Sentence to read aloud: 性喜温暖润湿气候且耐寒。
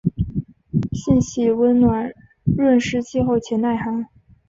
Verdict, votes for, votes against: accepted, 2, 0